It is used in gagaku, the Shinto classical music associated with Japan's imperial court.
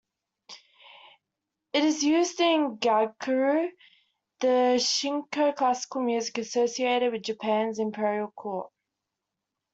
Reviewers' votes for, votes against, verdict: 2, 1, accepted